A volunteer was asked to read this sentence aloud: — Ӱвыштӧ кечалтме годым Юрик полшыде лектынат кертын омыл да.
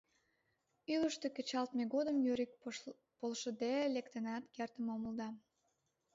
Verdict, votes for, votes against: accepted, 2, 0